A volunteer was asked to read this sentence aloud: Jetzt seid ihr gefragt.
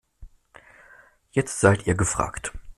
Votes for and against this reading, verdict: 2, 0, accepted